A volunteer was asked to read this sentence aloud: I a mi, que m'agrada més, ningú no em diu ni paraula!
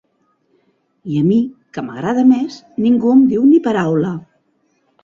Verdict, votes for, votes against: rejected, 1, 2